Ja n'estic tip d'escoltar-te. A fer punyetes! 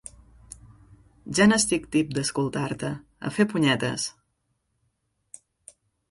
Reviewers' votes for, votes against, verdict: 4, 0, accepted